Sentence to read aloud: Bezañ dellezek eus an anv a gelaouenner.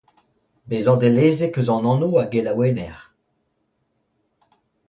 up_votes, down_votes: 2, 0